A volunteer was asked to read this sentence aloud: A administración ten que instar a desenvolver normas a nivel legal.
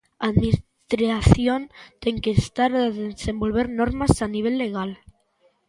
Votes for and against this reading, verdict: 0, 2, rejected